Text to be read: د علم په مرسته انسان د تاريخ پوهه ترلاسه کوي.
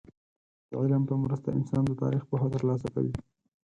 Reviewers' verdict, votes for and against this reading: accepted, 4, 2